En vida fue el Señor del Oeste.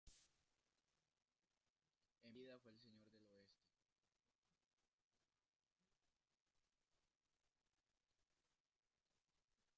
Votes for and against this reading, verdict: 1, 2, rejected